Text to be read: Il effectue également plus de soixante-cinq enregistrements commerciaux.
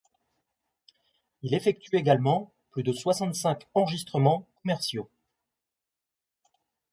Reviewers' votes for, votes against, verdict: 1, 2, rejected